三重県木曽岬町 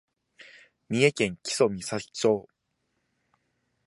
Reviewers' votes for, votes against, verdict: 3, 1, accepted